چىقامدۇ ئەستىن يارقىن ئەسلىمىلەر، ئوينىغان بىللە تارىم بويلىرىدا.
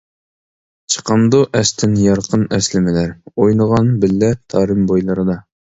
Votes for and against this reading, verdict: 2, 0, accepted